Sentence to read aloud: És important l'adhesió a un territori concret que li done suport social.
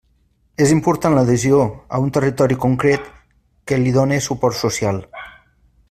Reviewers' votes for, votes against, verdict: 2, 0, accepted